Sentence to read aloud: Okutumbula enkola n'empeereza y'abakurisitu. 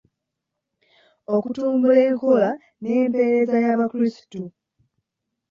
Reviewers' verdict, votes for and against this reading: accepted, 2, 1